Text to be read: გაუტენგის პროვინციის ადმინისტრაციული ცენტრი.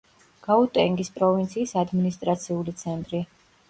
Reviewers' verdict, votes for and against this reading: accepted, 2, 0